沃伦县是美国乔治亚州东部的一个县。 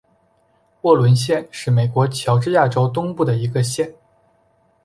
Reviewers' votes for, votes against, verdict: 2, 0, accepted